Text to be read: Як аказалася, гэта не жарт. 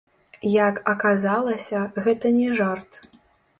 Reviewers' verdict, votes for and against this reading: rejected, 1, 3